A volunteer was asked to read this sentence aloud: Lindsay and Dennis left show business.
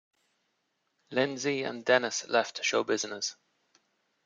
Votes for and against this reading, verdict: 2, 0, accepted